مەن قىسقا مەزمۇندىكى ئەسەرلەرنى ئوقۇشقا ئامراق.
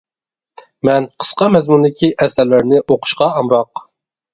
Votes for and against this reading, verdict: 2, 0, accepted